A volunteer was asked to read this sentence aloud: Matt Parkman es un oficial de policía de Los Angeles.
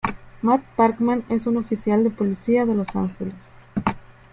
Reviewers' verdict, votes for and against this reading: accepted, 2, 0